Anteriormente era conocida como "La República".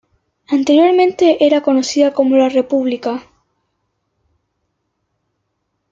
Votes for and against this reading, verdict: 2, 0, accepted